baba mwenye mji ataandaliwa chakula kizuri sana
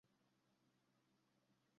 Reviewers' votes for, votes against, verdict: 0, 2, rejected